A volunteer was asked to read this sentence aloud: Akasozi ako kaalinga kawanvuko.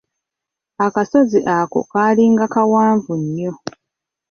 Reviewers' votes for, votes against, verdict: 1, 2, rejected